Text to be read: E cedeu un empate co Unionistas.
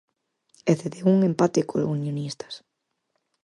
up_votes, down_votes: 4, 0